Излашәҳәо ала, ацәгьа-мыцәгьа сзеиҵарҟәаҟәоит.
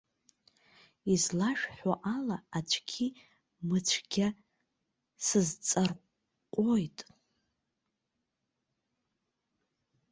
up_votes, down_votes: 0, 2